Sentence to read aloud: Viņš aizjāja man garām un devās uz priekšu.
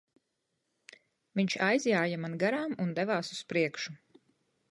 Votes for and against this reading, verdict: 2, 0, accepted